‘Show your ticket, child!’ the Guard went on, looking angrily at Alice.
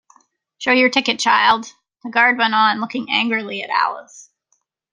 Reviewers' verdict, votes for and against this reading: accepted, 2, 0